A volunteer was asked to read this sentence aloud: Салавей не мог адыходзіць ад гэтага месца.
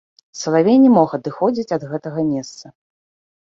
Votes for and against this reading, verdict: 2, 0, accepted